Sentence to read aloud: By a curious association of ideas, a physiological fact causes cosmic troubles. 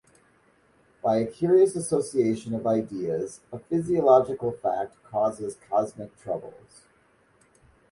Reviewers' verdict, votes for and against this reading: accepted, 2, 0